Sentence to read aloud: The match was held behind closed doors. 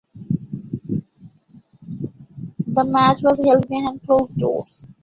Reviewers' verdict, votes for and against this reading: rejected, 0, 2